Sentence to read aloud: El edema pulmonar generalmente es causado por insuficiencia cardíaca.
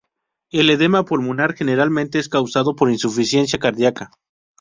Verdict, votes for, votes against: accepted, 2, 0